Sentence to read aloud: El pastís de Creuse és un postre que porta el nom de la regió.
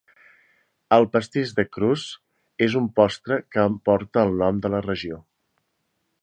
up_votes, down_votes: 1, 2